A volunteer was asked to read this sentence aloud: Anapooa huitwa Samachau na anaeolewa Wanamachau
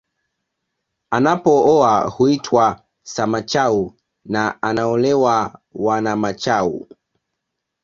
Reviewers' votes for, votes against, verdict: 2, 0, accepted